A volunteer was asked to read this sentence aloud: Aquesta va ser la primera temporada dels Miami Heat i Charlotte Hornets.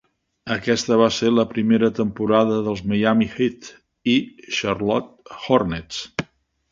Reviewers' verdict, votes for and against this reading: accepted, 2, 0